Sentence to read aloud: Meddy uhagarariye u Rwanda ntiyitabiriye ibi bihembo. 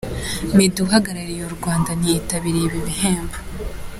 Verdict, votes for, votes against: accepted, 2, 0